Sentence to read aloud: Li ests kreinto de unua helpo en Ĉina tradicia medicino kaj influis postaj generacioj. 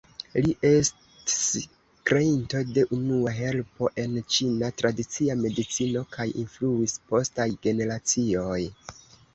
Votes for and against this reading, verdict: 0, 2, rejected